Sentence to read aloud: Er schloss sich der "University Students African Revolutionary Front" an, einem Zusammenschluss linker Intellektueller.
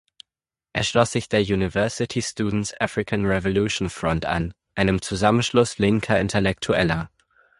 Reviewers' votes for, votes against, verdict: 0, 4, rejected